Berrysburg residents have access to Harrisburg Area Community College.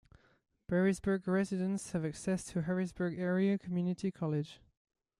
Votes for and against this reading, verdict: 2, 0, accepted